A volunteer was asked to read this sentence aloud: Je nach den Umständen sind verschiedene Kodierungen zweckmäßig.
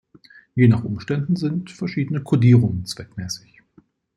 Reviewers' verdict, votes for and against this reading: rejected, 1, 2